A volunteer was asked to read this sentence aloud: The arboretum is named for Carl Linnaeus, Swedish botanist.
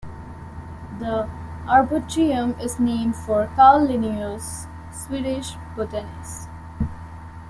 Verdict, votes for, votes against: rejected, 0, 2